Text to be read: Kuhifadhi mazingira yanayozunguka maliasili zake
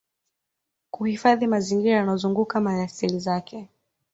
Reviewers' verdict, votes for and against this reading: accepted, 2, 1